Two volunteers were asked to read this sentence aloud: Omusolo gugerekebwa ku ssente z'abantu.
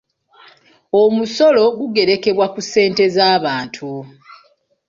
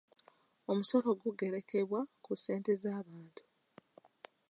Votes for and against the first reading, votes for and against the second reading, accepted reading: 2, 1, 0, 2, first